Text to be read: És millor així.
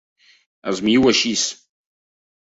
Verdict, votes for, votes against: accepted, 2, 0